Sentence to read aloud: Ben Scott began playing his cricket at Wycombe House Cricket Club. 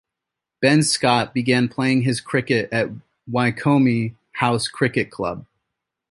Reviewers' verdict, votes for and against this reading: accepted, 2, 0